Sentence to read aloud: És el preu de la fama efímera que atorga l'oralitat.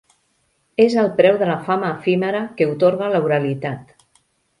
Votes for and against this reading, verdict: 1, 2, rejected